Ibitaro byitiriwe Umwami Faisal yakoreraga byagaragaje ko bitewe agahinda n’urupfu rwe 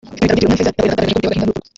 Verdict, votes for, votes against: rejected, 0, 4